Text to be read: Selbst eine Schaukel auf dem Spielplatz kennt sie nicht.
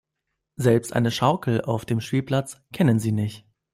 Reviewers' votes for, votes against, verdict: 0, 2, rejected